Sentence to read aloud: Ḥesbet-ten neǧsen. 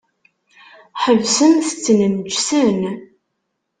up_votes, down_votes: 0, 2